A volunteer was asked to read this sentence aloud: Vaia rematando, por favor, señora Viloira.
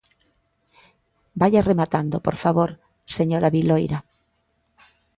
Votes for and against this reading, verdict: 2, 0, accepted